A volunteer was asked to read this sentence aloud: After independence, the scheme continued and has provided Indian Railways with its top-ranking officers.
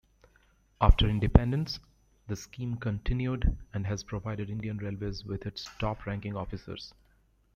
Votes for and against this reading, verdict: 1, 2, rejected